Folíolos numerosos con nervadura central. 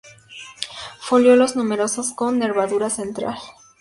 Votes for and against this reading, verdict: 2, 0, accepted